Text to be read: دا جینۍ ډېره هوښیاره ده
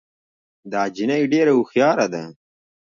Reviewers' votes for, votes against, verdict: 1, 2, rejected